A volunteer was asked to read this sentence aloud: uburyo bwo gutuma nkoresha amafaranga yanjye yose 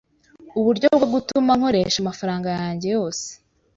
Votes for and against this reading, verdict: 2, 0, accepted